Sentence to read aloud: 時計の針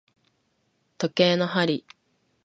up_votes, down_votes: 2, 0